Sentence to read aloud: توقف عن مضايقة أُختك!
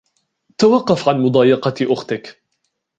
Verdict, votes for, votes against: accepted, 2, 0